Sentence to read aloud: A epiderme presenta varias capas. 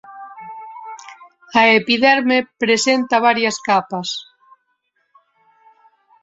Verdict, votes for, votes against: rejected, 1, 2